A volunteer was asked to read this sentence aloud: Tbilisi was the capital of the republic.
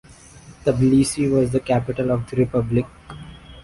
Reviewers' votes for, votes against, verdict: 3, 0, accepted